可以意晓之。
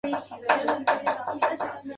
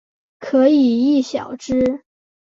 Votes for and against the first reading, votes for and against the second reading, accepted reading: 0, 2, 6, 1, second